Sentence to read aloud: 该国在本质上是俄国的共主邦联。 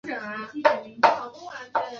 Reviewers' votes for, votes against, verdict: 0, 2, rejected